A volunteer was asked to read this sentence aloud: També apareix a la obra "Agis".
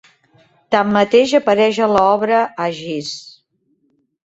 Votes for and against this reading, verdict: 0, 2, rejected